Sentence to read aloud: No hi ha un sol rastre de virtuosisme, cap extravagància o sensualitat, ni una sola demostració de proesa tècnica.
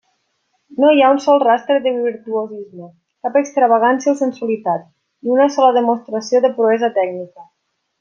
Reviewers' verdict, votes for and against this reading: accepted, 3, 0